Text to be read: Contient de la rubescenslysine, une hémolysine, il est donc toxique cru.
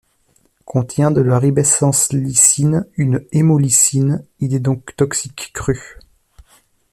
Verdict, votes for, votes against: rejected, 1, 2